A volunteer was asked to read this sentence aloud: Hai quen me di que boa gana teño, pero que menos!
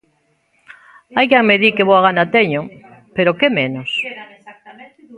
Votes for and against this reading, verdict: 0, 2, rejected